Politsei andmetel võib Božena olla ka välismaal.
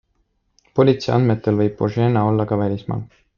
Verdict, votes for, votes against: accepted, 2, 0